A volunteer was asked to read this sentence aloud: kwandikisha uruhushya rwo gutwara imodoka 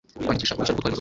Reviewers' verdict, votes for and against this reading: rejected, 0, 2